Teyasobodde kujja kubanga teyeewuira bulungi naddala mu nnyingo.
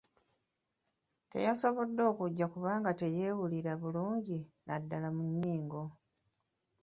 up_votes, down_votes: 2, 0